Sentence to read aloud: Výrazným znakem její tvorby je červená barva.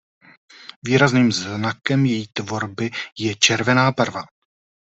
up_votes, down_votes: 2, 0